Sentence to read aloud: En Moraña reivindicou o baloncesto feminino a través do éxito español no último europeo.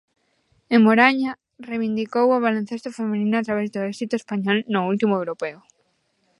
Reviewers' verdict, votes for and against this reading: rejected, 0, 2